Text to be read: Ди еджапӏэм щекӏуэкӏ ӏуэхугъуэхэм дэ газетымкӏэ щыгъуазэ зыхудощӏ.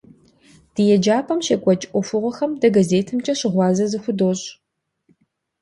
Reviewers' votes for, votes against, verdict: 2, 0, accepted